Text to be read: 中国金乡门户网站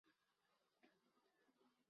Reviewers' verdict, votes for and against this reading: rejected, 0, 3